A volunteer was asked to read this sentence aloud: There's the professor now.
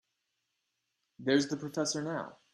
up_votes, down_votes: 2, 0